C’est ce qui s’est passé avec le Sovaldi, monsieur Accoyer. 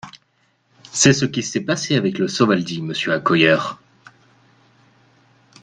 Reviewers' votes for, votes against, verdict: 1, 2, rejected